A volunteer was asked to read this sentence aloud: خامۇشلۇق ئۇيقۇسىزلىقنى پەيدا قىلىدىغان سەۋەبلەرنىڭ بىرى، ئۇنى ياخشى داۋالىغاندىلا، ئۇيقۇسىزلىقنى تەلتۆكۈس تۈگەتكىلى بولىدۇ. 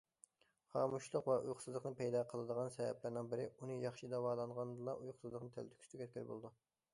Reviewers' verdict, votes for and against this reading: rejected, 0, 2